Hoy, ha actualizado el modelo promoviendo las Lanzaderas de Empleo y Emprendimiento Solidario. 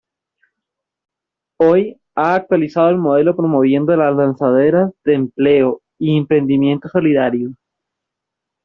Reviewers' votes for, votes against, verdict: 2, 1, accepted